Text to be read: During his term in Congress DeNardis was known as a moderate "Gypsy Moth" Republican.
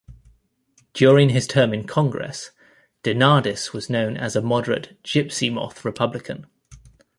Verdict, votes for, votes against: accepted, 2, 0